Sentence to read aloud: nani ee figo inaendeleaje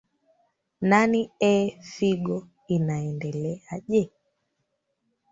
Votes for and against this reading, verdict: 1, 2, rejected